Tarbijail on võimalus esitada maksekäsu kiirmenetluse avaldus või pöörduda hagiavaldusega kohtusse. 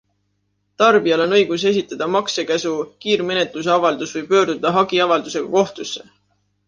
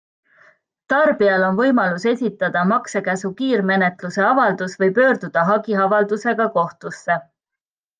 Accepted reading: second